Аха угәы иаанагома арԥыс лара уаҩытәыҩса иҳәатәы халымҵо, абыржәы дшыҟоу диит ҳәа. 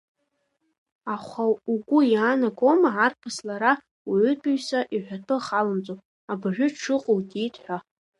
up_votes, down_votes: 2, 0